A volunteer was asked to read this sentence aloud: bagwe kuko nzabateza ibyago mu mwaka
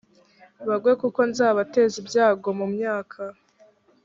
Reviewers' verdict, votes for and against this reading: rejected, 2, 3